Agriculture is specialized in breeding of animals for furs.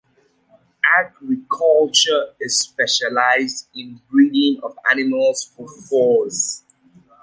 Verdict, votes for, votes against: accepted, 2, 0